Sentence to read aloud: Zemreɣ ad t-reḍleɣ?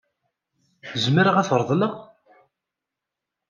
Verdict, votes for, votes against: accepted, 2, 0